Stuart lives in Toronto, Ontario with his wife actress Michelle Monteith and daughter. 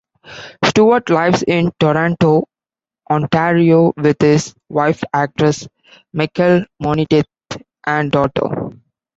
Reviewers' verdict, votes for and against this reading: rejected, 0, 3